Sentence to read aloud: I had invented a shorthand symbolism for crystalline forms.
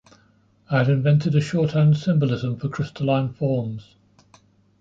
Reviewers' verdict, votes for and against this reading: accepted, 2, 0